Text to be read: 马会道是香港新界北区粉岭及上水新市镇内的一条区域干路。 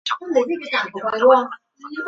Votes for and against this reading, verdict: 1, 7, rejected